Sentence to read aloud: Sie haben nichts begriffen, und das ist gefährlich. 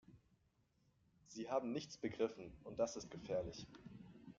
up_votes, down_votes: 0, 2